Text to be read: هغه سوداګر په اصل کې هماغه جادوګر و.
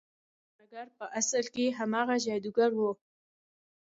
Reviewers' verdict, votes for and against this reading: accepted, 3, 0